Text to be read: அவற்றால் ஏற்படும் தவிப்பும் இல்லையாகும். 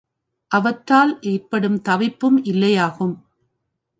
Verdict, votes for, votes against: rejected, 1, 2